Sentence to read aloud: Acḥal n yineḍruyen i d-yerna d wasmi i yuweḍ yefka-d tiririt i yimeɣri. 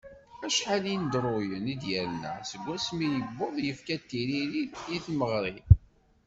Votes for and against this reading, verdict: 2, 0, accepted